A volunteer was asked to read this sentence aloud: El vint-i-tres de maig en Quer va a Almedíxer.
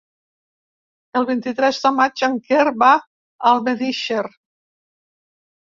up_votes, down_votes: 2, 0